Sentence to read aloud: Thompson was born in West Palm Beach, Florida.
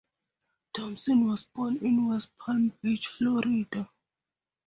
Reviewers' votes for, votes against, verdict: 2, 2, rejected